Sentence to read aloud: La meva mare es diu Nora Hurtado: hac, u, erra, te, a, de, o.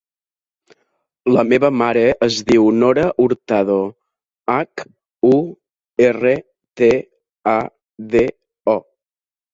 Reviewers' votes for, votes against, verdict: 0, 2, rejected